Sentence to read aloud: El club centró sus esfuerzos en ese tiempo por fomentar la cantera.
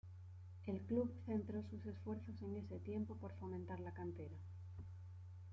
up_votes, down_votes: 2, 1